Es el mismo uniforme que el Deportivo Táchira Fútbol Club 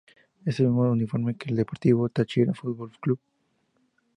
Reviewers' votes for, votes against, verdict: 0, 2, rejected